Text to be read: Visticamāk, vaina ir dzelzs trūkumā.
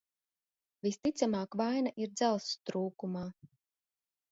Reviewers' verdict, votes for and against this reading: accepted, 2, 0